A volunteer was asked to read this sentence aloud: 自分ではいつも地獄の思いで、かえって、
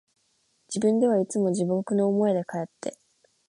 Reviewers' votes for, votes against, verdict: 2, 0, accepted